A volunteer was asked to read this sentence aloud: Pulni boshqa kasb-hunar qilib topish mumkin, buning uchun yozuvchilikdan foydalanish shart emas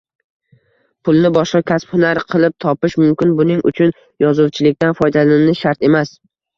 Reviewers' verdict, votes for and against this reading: rejected, 1, 2